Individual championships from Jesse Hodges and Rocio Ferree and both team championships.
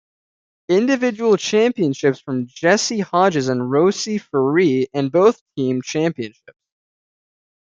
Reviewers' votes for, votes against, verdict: 1, 2, rejected